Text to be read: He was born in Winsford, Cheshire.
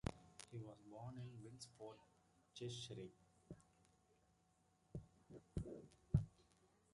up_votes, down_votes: 0, 2